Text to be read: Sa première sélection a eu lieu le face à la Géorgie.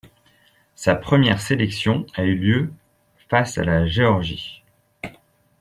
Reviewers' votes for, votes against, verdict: 2, 0, accepted